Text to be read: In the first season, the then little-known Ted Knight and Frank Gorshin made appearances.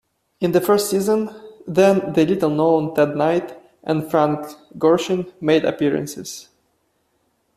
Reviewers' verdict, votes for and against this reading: rejected, 0, 2